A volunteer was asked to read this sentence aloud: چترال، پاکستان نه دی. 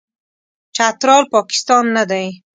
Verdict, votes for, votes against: accepted, 2, 0